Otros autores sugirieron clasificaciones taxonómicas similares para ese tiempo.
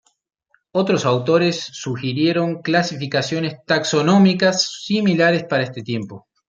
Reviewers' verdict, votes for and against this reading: accepted, 2, 0